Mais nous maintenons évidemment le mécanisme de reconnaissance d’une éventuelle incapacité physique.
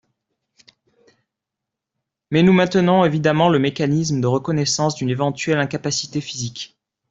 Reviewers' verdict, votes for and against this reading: rejected, 0, 2